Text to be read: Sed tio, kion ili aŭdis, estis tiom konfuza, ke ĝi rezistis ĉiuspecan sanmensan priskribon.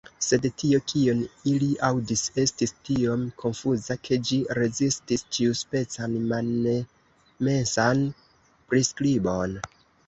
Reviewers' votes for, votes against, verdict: 1, 2, rejected